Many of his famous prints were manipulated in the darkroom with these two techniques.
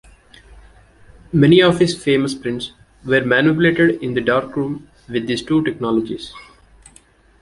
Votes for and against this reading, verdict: 1, 2, rejected